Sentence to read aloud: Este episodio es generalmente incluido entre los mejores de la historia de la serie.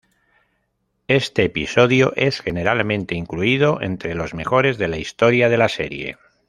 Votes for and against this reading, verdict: 2, 0, accepted